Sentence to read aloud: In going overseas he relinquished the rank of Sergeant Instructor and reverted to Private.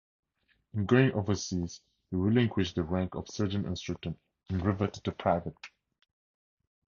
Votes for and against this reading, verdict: 4, 0, accepted